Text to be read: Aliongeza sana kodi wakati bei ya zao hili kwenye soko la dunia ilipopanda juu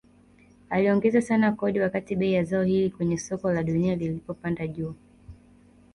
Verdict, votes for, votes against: rejected, 1, 2